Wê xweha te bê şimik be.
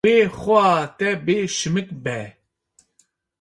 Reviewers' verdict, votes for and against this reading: accepted, 2, 0